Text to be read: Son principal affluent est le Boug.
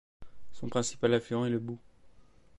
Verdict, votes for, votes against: accepted, 2, 0